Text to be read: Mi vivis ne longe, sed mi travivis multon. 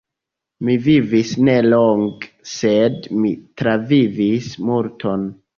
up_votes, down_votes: 2, 0